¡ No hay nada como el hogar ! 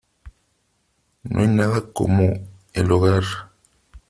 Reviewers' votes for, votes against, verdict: 3, 0, accepted